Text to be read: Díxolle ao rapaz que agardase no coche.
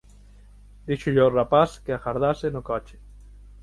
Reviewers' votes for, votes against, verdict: 6, 0, accepted